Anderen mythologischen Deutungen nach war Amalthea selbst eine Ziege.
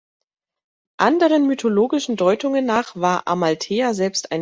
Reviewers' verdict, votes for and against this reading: rejected, 1, 2